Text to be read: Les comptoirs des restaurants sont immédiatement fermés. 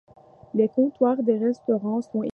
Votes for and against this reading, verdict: 0, 2, rejected